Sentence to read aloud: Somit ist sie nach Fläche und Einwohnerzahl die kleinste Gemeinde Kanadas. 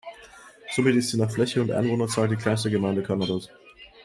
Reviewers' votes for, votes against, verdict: 1, 2, rejected